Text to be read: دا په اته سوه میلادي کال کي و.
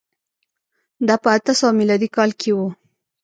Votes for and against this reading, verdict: 0, 2, rejected